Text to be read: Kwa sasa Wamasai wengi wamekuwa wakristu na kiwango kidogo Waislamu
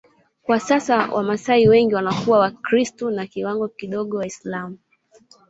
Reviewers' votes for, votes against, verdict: 0, 2, rejected